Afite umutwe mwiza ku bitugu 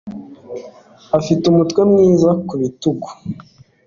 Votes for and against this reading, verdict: 2, 1, accepted